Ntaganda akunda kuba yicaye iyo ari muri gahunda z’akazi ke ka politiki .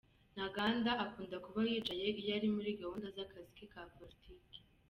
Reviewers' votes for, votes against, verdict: 2, 1, accepted